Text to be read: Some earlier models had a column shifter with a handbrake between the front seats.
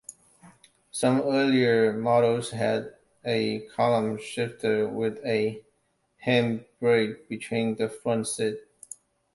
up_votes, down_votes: 1, 2